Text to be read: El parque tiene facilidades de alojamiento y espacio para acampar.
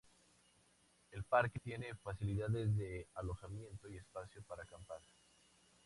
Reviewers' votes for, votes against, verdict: 2, 0, accepted